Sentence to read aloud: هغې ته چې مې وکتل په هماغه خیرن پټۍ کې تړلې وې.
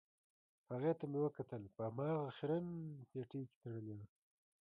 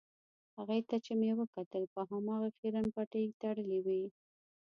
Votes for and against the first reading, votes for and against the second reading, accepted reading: 1, 2, 2, 0, second